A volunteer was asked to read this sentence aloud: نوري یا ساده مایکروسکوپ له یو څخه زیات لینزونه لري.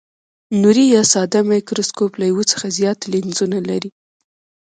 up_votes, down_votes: 1, 2